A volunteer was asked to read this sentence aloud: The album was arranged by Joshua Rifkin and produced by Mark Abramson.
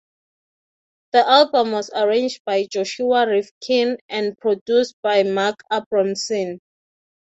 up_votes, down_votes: 3, 3